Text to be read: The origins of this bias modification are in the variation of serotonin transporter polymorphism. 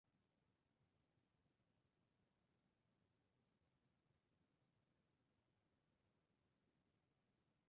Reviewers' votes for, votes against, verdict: 0, 2, rejected